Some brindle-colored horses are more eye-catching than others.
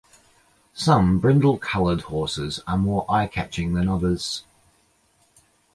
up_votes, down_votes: 2, 0